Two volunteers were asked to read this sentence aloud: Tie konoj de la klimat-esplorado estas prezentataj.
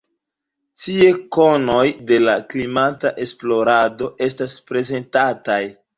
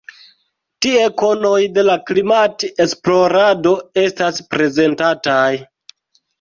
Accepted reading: second